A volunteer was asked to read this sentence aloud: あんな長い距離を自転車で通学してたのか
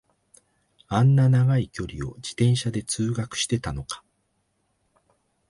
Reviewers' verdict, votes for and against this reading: accepted, 2, 0